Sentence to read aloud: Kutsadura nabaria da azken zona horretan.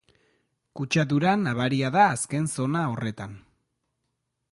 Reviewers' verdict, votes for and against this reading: accepted, 3, 1